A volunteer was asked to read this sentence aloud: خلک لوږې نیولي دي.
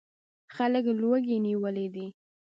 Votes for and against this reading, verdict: 1, 2, rejected